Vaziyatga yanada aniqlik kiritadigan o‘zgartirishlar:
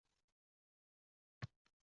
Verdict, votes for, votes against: rejected, 0, 2